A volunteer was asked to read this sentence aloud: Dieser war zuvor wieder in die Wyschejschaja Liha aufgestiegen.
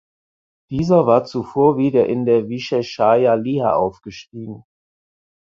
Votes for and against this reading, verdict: 0, 4, rejected